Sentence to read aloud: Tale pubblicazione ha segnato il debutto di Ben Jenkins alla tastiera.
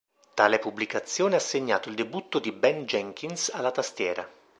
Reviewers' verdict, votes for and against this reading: accepted, 2, 0